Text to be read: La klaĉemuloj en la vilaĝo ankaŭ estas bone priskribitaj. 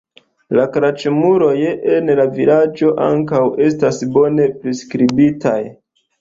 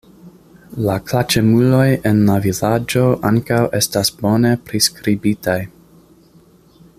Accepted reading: first